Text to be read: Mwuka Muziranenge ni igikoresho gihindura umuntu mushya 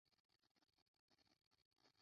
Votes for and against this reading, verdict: 0, 2, rejected